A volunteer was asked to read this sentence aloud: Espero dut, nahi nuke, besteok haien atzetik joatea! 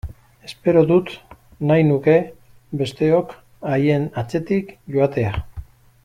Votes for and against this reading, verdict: 2, 0, accepted